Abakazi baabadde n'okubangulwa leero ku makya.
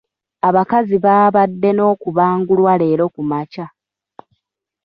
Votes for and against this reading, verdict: 0, 2, rejected